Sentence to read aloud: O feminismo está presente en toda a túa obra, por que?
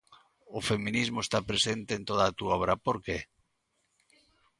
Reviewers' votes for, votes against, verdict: 2, 0, accepted